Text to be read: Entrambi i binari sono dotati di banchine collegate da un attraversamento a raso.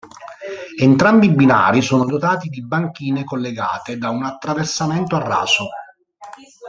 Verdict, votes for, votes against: rejected, 1, 2